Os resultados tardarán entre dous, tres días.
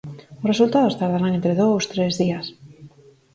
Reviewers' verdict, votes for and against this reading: rejected, 2, 4